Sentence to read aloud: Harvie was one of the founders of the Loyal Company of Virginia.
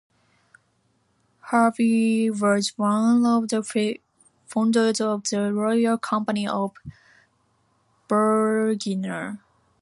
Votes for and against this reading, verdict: 0, 2, rejected